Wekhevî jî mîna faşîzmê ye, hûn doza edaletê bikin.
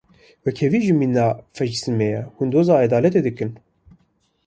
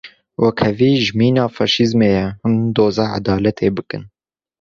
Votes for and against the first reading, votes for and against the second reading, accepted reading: 1, 2, 2, 0, second